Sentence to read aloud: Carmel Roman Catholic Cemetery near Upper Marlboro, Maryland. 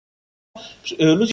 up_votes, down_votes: 0, 2